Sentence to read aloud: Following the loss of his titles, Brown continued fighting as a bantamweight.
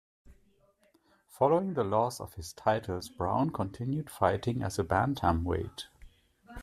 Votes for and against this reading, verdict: 2, 0, accepted